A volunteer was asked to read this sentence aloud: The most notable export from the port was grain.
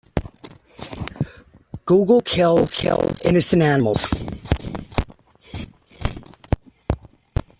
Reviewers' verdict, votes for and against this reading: rejected, 0, 2